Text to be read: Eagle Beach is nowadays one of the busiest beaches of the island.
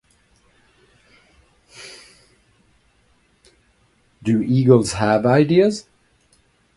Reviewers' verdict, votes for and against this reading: rejected, 0, 2